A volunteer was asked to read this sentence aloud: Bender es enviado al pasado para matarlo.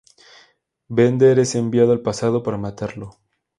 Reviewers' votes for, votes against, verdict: 2, 0, accepted